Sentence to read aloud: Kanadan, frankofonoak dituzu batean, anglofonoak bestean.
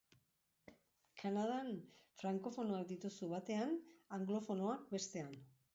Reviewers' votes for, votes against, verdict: 1, 2, rejected